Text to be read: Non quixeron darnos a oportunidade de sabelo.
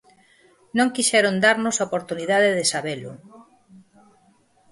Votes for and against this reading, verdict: 2, 2, rejected